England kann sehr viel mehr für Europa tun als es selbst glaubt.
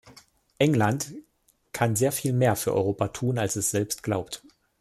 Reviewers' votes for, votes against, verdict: 2, 0, accepted